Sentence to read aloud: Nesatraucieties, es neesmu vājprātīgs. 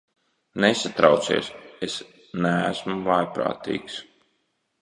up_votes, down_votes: 0, 2